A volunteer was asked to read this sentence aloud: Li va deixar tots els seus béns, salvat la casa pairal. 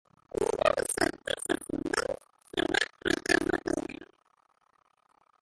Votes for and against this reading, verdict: 0, 2, rejected